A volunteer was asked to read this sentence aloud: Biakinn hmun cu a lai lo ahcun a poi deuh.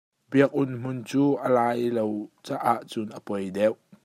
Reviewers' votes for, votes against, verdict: 0, 2, rejected